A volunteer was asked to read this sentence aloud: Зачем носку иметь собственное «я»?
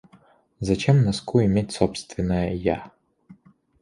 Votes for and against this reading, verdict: 2, 0, accepted